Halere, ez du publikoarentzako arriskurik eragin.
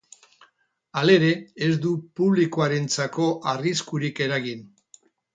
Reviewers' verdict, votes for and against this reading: accepted, 4, 0